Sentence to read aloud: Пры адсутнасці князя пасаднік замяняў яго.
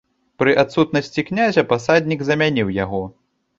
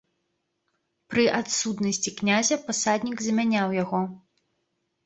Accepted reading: second